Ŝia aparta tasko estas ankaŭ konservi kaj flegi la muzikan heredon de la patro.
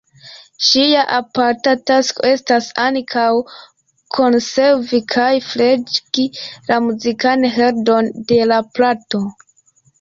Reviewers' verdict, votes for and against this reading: rejected, 1, 2